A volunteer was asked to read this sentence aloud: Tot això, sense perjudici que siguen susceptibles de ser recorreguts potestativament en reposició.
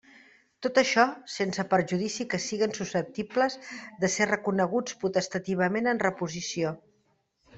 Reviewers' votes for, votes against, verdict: 1, 2, rejected